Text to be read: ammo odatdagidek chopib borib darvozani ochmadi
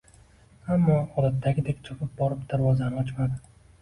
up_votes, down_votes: 2, 0